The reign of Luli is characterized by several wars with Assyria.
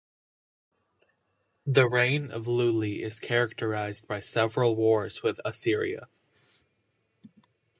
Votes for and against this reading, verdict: 2, 0, accepted